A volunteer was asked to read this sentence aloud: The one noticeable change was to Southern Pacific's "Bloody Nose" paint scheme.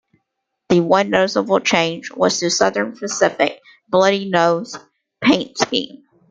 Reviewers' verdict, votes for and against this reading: accepted, 2, 1